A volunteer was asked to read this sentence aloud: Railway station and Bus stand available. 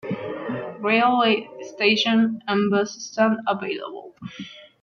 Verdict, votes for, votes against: rejected, 1, 2